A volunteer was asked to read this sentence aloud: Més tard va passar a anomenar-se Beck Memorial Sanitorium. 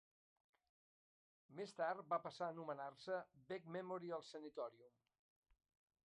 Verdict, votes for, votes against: accepted, 2, 0